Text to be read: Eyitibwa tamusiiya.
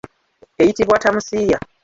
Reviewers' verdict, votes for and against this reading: rejected, 1, 2